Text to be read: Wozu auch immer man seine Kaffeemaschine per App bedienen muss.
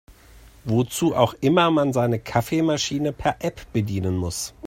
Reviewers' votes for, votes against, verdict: 2, 0, accepted